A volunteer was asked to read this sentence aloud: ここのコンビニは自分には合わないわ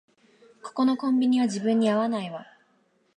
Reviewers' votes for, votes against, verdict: 6, 0, accepted